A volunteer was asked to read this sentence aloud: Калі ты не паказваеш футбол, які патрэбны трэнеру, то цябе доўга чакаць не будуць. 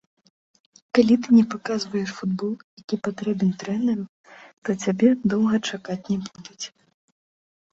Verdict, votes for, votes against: rejected, 0, 2